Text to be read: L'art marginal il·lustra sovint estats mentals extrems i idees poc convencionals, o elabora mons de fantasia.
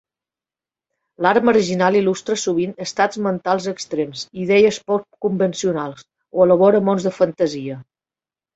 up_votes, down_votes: 2, 0